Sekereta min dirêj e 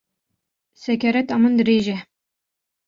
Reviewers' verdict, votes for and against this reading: accepted, 2, 0